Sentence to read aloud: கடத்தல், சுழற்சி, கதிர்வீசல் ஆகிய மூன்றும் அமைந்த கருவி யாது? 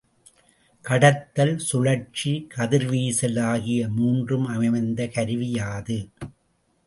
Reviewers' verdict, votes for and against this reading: rejected, 0, 2